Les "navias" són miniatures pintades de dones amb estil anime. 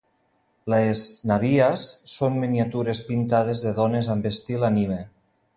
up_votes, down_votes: 2, 0